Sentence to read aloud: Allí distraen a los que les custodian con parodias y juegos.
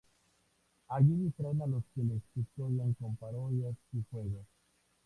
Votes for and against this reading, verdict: 2, 0, accepted